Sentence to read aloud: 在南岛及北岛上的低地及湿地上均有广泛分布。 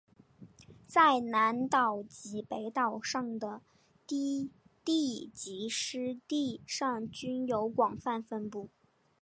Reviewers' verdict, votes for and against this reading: accepted, 4, 2